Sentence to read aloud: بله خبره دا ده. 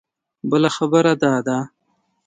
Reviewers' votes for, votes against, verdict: 2, 0, accepted